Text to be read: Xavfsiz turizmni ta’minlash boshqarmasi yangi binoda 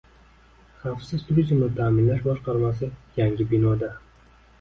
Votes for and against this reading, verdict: 2, 1, accepted